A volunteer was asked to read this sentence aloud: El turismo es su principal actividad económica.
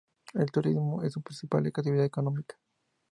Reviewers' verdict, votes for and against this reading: rejected, 0, 2